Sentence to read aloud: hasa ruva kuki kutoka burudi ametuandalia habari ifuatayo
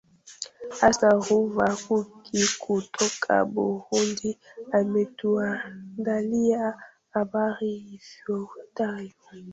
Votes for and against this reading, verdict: 0, 2, rejected